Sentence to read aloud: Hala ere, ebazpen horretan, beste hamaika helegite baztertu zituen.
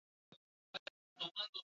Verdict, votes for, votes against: rejected, 0, 2